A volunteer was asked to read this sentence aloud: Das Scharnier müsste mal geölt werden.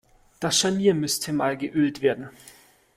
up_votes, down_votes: 2, 0